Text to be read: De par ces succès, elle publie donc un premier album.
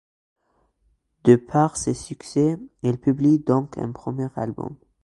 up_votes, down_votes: 2, 0